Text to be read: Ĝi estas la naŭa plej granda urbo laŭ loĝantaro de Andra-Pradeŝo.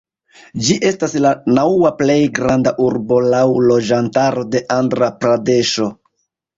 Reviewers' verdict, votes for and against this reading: accepted, 2, 0